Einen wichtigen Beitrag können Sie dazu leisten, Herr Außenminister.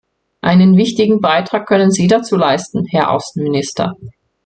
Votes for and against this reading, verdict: 2, 0, accepted